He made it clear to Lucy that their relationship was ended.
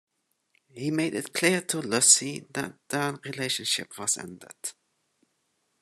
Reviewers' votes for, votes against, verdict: 2, 1, accepted